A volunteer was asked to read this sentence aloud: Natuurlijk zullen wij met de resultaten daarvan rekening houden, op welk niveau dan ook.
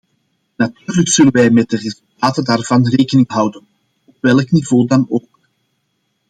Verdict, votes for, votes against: accepted, 2, 1